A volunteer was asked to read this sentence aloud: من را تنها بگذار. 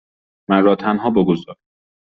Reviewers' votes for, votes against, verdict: 2, 0, accepted